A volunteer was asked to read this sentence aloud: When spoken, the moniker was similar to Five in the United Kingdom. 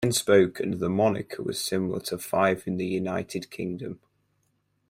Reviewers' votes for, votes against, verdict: 2, 4, rejected